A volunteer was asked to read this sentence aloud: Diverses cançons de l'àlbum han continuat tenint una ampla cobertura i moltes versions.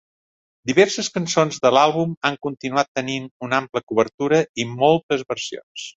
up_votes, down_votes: 5, 0